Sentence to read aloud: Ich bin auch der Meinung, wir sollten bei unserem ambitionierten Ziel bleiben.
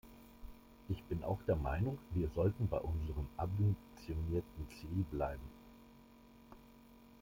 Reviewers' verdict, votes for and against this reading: rejected, 1, 2